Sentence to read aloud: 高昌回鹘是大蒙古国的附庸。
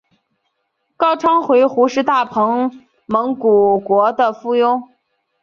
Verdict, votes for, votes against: accepted, 2, 0